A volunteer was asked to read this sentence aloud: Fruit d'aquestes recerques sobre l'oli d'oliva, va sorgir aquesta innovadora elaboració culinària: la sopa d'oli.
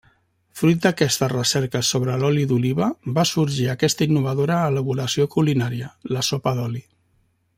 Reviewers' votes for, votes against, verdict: 3, 0, accepted